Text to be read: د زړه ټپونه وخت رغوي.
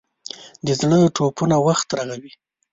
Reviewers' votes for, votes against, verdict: 1, 2, rejected